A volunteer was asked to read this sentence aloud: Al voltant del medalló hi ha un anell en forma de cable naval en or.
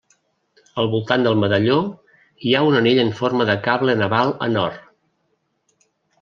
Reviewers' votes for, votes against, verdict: 2, 0, accepted